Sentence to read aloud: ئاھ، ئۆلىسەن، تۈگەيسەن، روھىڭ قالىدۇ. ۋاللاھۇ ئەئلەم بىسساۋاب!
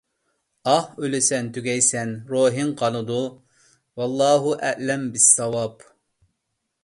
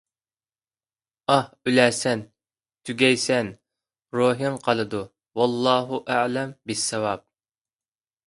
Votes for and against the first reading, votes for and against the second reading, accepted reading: 2, 0, 0, 2, first